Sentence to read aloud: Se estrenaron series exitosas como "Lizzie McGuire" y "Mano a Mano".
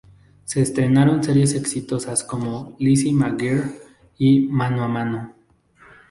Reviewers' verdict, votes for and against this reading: accepted, 4, 2